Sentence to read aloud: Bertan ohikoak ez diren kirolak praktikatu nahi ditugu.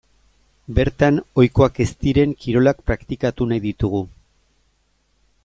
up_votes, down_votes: 2, 0